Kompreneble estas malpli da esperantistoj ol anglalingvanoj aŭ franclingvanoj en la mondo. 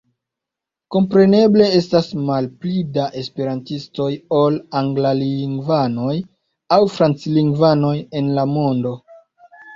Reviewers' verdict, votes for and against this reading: accepted, 2, 0